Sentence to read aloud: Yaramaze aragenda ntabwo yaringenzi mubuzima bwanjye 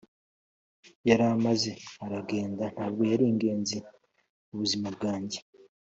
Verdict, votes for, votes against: accepted, 2, 0